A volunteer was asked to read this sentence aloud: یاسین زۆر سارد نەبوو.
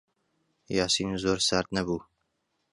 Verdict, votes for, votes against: accepted, 2, 0